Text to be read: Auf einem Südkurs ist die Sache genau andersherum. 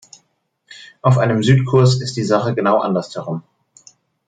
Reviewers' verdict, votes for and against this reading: accepted, 2, 0